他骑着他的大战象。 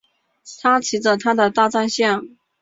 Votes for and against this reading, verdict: 6, 0, accepted